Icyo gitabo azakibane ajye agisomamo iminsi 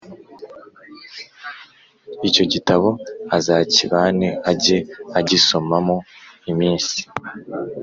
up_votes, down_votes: 3, 0